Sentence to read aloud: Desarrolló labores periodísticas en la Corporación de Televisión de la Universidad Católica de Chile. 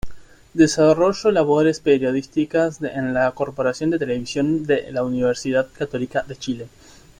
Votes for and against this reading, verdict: 0, 2, rejected